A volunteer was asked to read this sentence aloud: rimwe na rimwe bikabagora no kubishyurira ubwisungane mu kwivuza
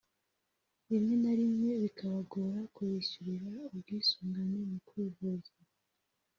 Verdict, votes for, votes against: rejected, 1, 2